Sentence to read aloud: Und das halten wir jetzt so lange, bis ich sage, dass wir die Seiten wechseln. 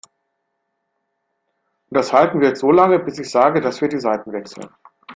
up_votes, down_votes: 1, 2